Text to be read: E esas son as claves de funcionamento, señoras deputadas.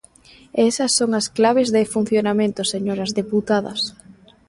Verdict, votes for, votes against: accepted, 2, 0